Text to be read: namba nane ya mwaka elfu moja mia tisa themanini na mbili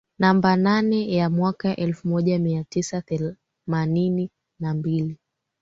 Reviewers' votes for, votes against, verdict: 2, 3, rejected